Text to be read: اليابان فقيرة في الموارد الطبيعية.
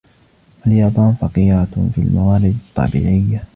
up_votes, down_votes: 2, 0